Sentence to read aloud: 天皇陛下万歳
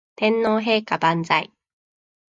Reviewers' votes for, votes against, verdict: 2, 0, accepted